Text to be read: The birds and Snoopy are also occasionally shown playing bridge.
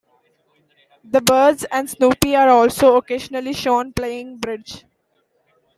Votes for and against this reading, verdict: 2, 0, accepted